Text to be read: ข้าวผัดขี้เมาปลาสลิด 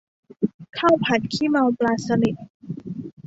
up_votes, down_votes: 2, 0